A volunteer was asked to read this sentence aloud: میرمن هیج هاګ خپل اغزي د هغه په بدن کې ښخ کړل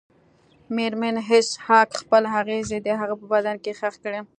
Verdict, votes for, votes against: rejected, 1, 2